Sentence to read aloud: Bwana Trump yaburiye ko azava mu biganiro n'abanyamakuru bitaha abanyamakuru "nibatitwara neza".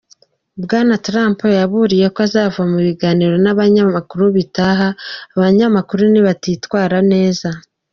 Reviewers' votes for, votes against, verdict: 2, 0, accepted